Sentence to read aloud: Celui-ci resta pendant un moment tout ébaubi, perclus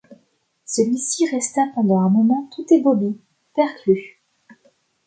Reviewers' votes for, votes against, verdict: 2, 0, accepted